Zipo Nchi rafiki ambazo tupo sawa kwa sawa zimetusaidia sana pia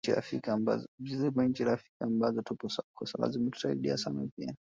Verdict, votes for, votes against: rejected, 1, 2